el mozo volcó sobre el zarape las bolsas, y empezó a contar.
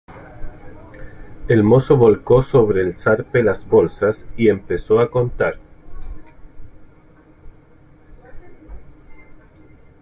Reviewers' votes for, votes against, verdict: 0, 2, rejected